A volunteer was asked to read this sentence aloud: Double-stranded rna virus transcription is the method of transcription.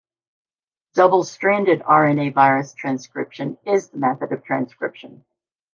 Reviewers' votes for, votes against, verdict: 2, 0, accepted